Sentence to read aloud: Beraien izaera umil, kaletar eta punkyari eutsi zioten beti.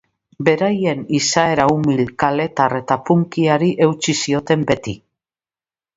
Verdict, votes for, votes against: accepted, 2, 0